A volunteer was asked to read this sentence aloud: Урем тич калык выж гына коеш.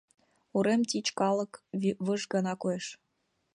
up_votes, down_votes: 2, 0